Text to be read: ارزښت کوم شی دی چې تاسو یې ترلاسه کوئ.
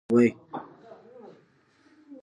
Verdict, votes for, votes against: rejected, 1, 2